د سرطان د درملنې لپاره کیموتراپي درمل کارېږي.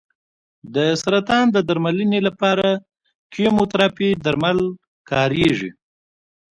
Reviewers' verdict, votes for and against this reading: accepted, 3, 0